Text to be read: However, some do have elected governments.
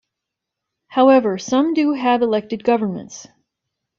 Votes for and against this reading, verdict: 2, 0, accepted